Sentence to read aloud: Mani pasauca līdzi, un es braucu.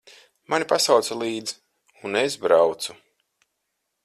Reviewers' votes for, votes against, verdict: 4, 0, accepted